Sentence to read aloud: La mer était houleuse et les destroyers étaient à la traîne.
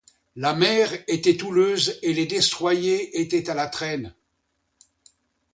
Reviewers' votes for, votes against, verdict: 2, 1, accepted